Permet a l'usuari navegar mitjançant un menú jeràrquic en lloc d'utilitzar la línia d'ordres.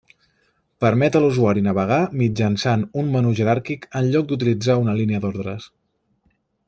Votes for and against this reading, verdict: 1, 2, rejected